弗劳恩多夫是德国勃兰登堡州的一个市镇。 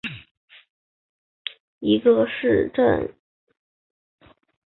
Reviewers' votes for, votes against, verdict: 0, 4, rejected